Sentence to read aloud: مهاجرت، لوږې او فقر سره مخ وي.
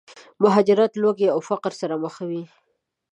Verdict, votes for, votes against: accepted, 2, 0